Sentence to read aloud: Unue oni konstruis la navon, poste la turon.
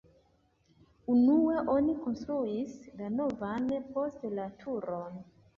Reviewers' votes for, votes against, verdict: 0, 2, rejected